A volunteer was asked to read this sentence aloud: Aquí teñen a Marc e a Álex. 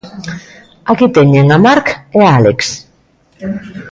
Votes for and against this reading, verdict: 0, 2, rejected